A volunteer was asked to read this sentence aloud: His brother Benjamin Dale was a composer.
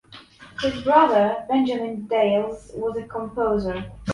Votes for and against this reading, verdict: 2, 1, accepted